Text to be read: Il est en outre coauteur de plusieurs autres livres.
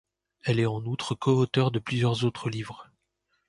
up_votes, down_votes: 1, 2